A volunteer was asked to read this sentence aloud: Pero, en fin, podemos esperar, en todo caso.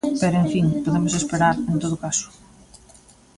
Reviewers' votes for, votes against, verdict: 2, 1, accepted